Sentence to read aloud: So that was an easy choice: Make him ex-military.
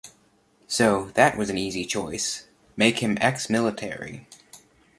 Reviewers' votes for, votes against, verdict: 2, 0, accepted